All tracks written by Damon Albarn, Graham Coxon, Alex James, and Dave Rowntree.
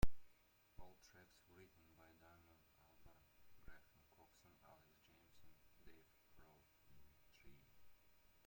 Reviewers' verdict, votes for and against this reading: rejected, 0, 2